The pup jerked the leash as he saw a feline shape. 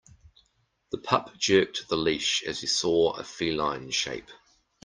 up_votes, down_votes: 2, 0